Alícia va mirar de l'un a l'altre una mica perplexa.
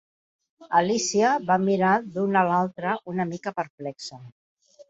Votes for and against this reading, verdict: 1, 2, rejected